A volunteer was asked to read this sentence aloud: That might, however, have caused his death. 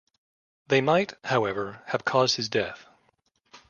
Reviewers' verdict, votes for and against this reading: rejected, 1, 2